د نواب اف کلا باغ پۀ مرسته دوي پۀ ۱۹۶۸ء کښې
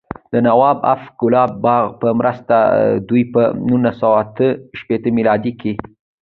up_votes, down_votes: 0, 2